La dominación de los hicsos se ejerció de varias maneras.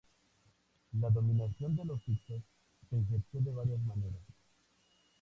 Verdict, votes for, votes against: accepted, 2, 0